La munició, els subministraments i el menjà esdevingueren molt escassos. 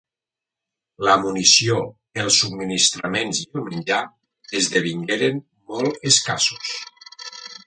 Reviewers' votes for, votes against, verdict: 2, 0, accepted